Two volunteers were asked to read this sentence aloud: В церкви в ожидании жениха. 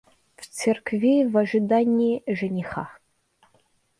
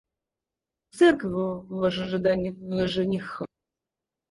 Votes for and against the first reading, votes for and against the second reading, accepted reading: 2, 0, 2, 4, first